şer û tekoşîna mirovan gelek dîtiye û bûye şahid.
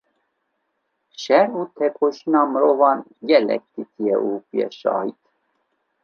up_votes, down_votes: 2, 0